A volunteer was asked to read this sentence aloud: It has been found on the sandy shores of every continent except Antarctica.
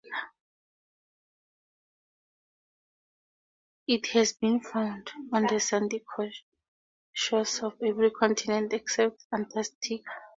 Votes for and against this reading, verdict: 0, 2, rejected